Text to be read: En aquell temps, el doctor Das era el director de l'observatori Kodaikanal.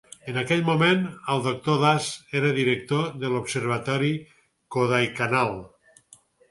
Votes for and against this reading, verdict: 2, 4, rejected